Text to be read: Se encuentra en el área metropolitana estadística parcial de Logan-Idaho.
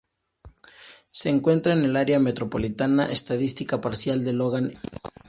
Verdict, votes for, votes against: rejected, 0, 2